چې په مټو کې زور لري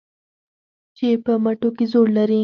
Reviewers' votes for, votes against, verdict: 4, 0, accepted